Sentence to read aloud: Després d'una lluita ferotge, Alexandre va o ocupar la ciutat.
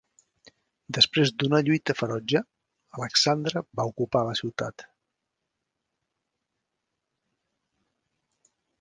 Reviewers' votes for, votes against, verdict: 0, 2, rejected